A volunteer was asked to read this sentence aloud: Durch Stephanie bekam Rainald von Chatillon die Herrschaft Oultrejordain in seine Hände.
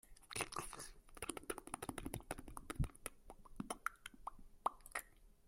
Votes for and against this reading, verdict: 0, 2, rejected